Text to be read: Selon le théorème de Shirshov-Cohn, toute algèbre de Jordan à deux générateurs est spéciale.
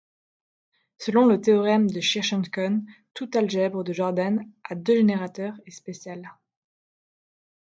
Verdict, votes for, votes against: accepted, 2, 0